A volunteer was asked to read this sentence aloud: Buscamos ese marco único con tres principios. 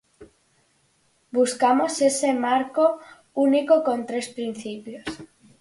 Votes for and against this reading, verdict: 4, 0, accepted